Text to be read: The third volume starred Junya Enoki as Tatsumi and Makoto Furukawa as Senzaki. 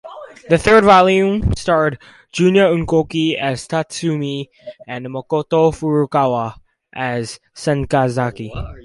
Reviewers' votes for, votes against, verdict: 0, 4, rejected